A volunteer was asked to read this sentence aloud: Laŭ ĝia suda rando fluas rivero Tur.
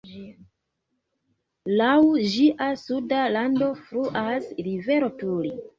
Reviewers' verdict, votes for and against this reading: rejected, 0, 2